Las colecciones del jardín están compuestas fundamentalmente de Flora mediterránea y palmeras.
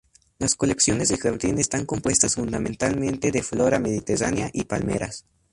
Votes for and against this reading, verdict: 2, 0, accepted